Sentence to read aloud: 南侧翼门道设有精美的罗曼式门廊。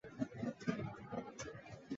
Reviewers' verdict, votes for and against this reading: rejected, 0, 3